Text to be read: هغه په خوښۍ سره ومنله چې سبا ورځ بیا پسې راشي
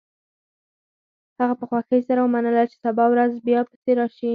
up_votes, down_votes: 0, 4